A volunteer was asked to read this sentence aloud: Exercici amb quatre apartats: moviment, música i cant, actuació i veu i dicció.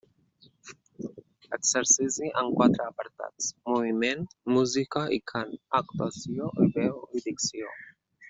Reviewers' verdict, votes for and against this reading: rejected, 0, 2